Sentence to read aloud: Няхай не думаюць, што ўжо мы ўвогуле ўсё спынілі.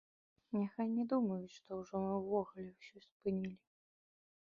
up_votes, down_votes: 1, 2